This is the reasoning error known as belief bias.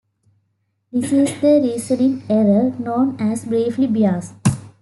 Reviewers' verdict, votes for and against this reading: accepted, 2, 0